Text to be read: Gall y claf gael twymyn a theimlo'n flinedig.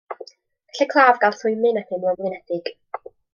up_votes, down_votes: 1, 2